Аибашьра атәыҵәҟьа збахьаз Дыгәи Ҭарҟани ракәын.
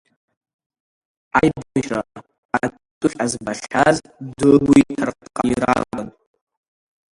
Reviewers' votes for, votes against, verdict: 0, 2, rejected